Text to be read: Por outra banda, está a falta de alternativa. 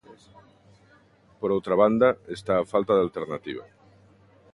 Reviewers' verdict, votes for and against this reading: accepted, 2, 0